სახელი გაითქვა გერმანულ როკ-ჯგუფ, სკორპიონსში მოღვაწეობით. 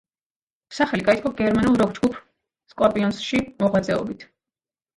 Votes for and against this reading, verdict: 2, 1, accepted